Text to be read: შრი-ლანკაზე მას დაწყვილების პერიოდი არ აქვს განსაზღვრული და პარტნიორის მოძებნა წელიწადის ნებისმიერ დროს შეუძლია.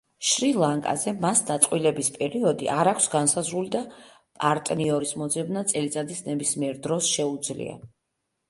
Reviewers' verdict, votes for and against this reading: accepted, 2, 0